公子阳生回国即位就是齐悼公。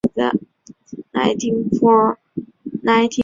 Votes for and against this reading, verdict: 3, 2, accepted